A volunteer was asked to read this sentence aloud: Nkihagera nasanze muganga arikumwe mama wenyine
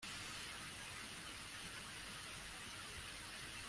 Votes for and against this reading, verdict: 0, 2, rejected